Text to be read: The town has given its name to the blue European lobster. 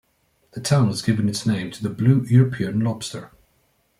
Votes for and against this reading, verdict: 0, 2, rejected